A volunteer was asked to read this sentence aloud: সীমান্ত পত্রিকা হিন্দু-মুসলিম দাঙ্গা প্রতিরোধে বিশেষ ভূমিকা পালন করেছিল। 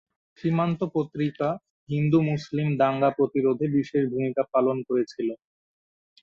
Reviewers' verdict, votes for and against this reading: accepted, 2, 0